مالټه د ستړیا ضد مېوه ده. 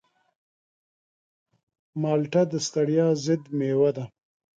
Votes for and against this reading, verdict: 2, 0, accepted